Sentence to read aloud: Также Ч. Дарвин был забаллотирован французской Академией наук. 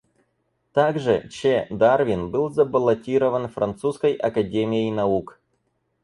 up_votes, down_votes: 4, 0